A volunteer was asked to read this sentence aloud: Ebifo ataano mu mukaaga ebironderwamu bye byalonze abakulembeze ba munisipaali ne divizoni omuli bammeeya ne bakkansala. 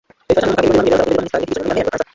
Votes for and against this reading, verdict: 0, 2, rejected